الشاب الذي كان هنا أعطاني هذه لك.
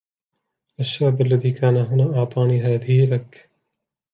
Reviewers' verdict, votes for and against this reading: accepted, 3, 0